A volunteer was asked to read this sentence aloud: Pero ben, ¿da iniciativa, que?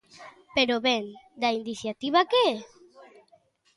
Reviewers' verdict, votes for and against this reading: accepted, 2, 0